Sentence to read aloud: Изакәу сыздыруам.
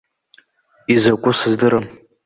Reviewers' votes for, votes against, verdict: 1, 2, rejected